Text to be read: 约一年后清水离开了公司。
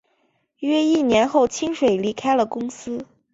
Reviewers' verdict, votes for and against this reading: accepted, 2, 0